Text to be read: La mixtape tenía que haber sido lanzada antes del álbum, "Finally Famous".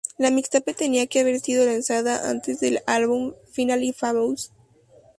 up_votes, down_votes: 4, 0